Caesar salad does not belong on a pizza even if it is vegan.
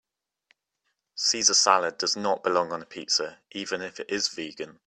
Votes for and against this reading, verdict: 2, 1, accepted